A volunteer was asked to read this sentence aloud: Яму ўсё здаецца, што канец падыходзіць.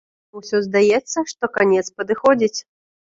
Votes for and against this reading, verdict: 1, 2, rejected